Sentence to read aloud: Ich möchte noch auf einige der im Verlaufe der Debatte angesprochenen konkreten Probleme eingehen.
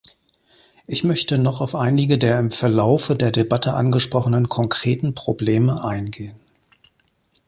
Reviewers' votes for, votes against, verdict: 2, 0, accepted